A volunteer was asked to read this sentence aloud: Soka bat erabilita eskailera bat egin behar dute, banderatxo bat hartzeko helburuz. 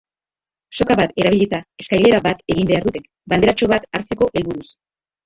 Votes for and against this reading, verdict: 1, 2, rejected